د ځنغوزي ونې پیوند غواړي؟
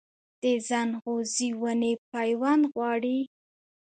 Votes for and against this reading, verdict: 3, 0, accepted